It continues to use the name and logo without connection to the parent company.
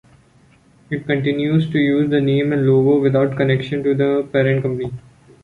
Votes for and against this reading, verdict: 2, 0, accepted